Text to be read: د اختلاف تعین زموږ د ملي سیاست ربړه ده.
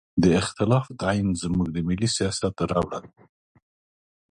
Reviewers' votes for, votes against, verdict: 2, 0, accepted